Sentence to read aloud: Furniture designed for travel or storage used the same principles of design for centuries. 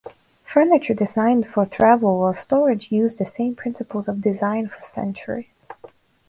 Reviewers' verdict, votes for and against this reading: accepted, 4, 0